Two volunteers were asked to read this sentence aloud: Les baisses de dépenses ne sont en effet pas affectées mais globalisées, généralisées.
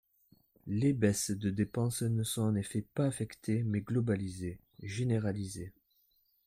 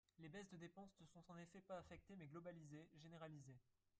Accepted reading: first